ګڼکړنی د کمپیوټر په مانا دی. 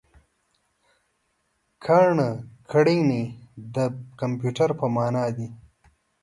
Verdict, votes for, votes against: rejected, 1, 2